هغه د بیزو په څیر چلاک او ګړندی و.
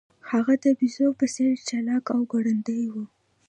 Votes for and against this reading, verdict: 2, 0, accepted